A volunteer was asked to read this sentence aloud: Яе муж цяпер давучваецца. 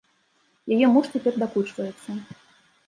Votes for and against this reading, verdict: 0, 2, rejected